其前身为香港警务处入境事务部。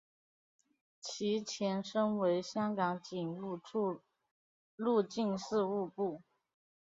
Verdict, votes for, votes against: accepted, 5, 1